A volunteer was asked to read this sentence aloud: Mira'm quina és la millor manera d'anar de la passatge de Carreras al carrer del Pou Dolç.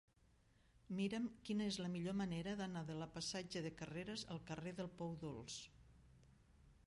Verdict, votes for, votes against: rejected, 1, 2